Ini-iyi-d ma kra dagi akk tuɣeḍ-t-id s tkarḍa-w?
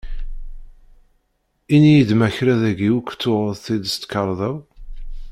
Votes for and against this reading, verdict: 0, 2, rejected